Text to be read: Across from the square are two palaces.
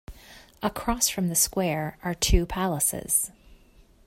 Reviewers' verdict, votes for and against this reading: accepted, 2, 0